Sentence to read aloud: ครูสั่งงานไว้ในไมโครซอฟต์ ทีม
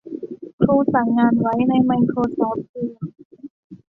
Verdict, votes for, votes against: accepted, 2, 0